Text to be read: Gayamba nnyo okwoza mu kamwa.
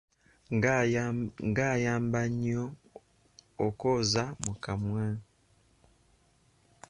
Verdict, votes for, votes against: rejected, 0, 2